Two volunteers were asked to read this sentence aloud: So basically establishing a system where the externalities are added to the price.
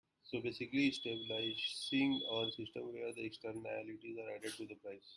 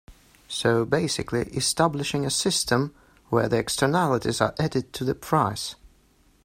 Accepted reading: second